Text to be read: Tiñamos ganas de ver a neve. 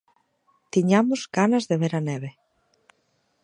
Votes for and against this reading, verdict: 2, 0, accepted